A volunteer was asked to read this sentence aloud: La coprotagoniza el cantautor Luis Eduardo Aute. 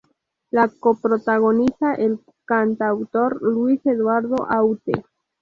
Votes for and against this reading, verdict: 4, 0, accepted